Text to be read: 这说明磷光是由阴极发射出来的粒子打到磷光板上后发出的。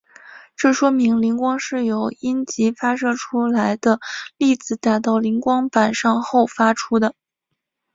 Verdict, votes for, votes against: accepted, 2, 0